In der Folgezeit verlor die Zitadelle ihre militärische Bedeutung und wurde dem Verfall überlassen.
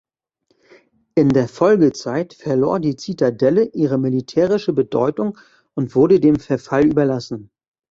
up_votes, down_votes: 2, 0